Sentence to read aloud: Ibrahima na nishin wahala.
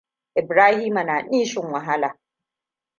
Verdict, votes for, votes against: rejected, 1, 2